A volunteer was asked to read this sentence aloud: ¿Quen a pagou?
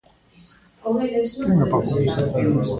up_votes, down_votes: 1, 2